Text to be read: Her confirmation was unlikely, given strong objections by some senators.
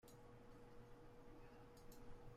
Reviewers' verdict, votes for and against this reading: rejected, 0, 2